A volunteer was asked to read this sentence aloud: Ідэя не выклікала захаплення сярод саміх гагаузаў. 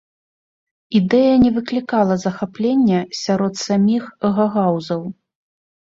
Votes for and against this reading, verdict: 1, 2, rejected